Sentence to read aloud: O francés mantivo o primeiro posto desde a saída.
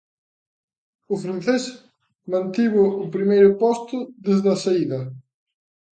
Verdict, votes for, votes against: accepted, 2, 0